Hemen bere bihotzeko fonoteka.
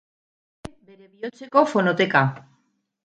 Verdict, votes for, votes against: rejected, 0, 4